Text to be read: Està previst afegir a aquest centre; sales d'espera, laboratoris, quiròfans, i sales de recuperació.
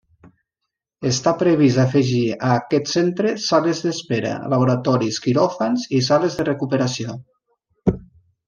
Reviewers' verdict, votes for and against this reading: accepted, 2, 0